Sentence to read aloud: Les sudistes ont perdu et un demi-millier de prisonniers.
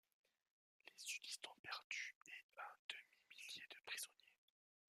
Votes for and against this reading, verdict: 1, 2, rejected